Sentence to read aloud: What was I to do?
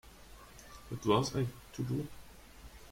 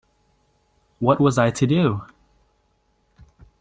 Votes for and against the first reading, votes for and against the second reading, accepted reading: 0, 2, 2, 0, second